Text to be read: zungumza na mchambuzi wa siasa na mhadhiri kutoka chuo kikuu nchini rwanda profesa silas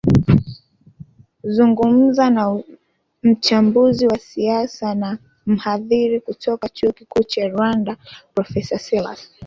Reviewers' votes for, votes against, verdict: 0, 2, rejected